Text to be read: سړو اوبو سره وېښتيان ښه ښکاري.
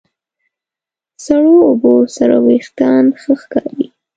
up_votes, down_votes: 2, 0